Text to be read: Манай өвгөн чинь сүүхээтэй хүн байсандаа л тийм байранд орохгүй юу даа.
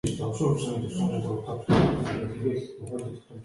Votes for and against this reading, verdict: 1, 2, rejected